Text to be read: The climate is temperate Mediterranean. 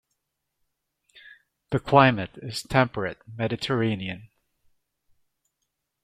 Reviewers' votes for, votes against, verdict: 2, 0, accepted